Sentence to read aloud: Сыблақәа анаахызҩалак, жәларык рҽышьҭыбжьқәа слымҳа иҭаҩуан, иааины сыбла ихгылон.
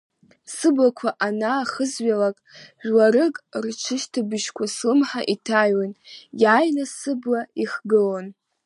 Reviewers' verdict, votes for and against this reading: accepted, 2, 0